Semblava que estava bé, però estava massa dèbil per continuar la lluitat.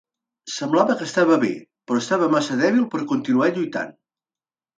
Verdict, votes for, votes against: rejected, 0, 2